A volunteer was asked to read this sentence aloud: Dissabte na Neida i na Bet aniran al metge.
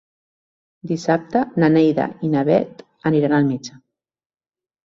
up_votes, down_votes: 3, 0